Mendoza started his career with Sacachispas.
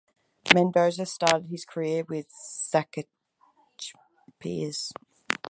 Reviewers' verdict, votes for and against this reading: rejected, 2, 4